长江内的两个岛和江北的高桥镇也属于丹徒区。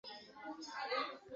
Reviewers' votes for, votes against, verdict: 0, 2, rejected